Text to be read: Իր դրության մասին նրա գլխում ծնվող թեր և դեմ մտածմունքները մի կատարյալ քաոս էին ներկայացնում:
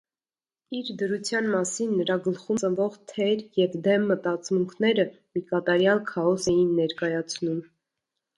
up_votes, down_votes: 2, 0